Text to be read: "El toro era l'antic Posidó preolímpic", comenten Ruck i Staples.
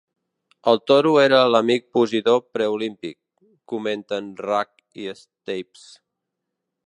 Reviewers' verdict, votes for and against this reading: rejected, 0, 2